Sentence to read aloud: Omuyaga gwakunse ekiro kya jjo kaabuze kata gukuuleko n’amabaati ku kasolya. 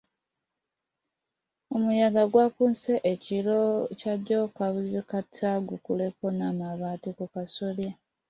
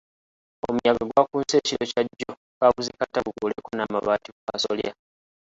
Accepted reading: second